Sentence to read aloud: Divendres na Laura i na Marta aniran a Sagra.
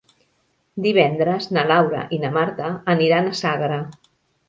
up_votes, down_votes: 2, 0